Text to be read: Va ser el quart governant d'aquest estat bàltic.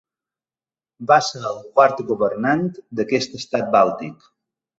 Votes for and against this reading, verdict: 2, 0, accepted